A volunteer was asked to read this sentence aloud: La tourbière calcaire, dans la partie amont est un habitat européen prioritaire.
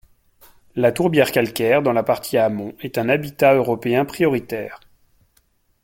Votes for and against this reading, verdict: 2, 0, accepted